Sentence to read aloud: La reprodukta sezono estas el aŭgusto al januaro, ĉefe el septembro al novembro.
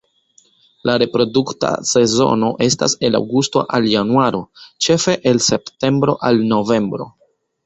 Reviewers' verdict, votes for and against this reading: accepted, 3, 0